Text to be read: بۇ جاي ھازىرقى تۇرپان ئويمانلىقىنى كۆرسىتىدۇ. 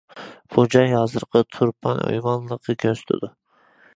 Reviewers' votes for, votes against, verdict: 0, 2, rejected